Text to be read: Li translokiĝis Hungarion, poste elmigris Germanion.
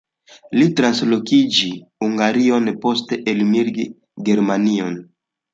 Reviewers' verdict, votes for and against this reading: rejected, 1, 2